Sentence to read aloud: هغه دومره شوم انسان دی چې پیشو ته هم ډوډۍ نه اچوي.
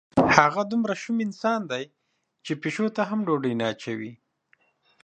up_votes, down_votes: 3, 0